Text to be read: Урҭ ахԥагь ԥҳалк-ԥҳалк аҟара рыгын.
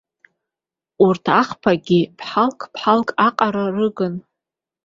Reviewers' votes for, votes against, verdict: 2, 0, accepted